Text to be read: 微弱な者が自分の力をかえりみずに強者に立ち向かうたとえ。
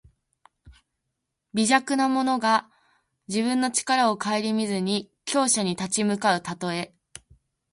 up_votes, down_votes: 2, 0